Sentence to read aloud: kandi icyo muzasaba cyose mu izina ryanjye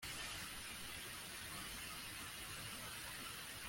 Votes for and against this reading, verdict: 0, 2, rejected